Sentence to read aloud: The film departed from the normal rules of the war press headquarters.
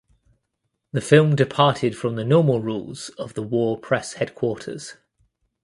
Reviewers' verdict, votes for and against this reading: accepted, 2, 0